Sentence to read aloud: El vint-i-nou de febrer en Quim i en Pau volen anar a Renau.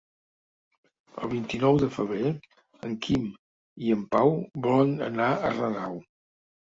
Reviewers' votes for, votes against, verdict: 2, 0, accepted